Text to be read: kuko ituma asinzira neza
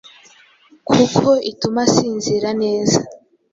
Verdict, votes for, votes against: accepted, 2, 0